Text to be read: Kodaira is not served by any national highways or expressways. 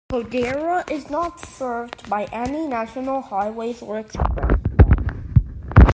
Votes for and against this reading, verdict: 0, 2, rejected